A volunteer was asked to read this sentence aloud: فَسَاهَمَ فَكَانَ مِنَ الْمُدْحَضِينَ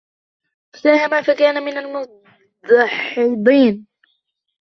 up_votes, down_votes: 0, 2